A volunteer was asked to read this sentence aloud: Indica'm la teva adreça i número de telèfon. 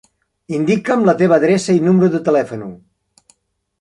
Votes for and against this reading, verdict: 1, 2, rejected